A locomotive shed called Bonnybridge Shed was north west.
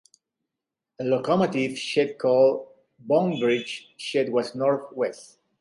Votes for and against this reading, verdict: 2, 0, accepted